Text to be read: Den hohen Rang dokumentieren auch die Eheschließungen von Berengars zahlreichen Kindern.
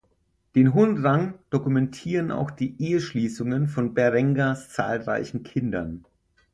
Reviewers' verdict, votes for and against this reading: accepted, 6, 0